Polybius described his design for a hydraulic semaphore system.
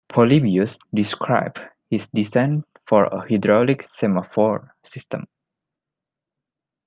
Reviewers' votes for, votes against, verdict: 0, 2, rejected